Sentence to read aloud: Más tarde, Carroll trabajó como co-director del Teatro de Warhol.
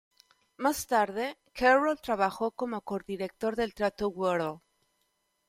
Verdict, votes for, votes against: accepted, 2, 0